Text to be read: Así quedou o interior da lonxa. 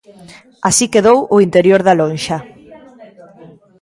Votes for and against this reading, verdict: 0, 2, rejected